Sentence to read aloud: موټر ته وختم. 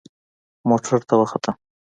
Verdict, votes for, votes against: accepted, 2, 0